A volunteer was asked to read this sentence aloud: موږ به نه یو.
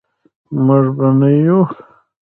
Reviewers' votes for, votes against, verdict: 1, 3, rejected